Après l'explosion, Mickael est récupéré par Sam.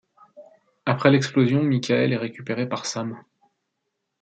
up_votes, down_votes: 2, 0